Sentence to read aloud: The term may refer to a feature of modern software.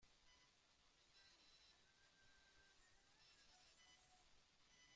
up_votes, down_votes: 0, 2